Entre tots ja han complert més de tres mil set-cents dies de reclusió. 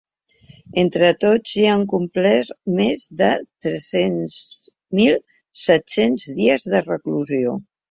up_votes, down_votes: 2, 1